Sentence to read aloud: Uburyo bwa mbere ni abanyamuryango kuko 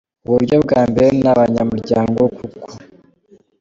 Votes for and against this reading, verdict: 2, 0, accepted